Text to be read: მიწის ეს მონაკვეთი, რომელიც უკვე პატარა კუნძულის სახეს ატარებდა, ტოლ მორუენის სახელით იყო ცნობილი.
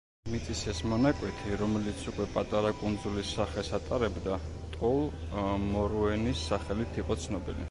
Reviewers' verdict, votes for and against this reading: rejected, 1, 3